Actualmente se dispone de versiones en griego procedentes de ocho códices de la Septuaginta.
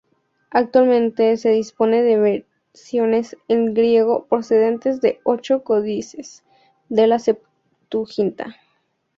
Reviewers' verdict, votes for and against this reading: rejected, 0, 2